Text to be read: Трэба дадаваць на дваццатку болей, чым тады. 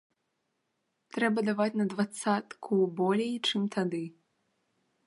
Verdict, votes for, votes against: rejected, 1, 2